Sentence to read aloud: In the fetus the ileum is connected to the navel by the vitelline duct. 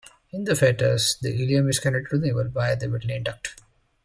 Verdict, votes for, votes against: accepted, 2, 1